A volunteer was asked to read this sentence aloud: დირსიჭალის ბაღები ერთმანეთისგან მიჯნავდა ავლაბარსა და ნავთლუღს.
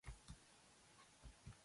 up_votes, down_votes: 1, 2